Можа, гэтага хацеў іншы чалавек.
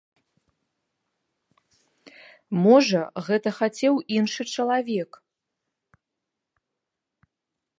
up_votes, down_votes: 0, 2